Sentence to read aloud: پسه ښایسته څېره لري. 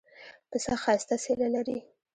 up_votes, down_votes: 0, 2